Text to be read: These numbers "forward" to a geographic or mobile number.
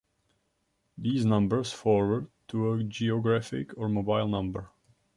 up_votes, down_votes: 2, 1